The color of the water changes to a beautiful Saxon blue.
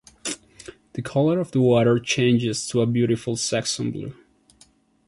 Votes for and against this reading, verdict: 2, 0, accepted